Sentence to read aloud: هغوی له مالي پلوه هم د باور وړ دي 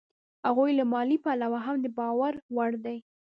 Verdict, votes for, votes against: accepted, 2, 1